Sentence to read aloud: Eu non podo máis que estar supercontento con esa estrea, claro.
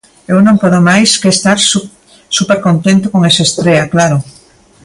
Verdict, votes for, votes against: rejected, 0, 2